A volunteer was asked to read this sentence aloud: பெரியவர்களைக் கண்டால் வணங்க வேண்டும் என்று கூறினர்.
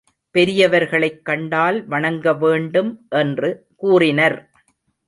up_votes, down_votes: 2, 0